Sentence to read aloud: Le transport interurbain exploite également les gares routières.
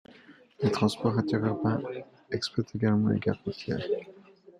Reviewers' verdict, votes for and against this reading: rejected, 1, 2